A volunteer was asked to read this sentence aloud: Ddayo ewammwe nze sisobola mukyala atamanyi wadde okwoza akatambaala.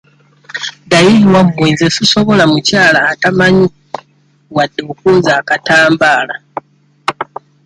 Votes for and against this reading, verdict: 2, 0, accepted